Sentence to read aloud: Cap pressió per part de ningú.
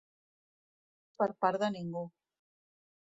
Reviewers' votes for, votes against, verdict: 1, 2, rejected